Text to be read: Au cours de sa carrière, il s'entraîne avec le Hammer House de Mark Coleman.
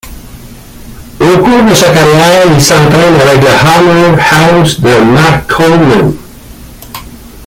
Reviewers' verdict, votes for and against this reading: rejected, 0, 3